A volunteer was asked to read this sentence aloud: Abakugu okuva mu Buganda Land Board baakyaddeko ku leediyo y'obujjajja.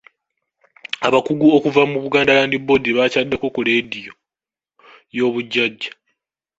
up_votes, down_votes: 2, 1